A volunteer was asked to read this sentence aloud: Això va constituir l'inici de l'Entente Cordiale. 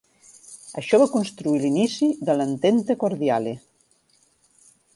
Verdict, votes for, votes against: accepted, 3, 2